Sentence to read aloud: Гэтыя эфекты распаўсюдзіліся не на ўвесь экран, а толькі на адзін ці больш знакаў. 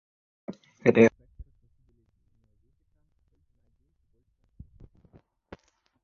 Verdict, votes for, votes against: rejected, 0, 2